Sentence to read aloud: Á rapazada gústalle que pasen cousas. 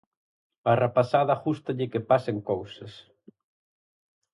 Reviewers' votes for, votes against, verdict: 4, 0, accepted